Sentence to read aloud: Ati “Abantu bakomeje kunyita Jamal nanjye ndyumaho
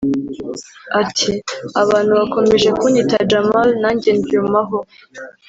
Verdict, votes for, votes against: rejected, 1, 2